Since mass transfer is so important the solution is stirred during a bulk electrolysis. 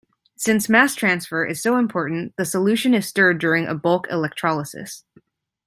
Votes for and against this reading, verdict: 2, 0, accepted